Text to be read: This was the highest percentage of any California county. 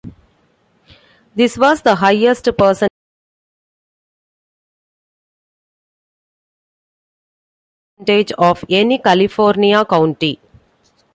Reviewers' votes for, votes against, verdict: 0, 2, rejected